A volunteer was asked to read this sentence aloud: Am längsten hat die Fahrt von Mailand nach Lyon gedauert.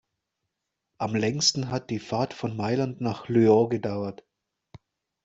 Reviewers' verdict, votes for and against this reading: rejected, 1, 2